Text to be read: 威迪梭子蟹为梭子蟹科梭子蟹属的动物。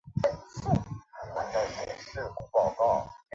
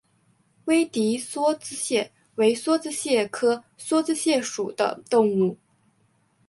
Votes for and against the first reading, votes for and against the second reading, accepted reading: 0, 2, 6, 0, second